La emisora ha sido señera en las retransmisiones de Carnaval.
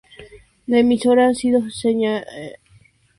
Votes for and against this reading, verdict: 0, 2, rejected